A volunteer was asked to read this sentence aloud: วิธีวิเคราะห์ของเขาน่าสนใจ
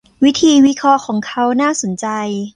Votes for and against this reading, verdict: 1, 2, rejected